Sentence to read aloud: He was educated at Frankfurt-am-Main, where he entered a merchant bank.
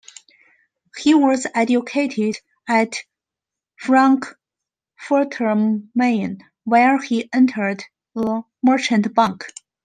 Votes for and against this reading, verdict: 1, 2, rejected